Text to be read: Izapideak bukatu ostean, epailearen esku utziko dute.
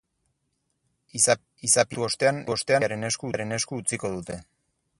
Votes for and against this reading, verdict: 0, 4, rejected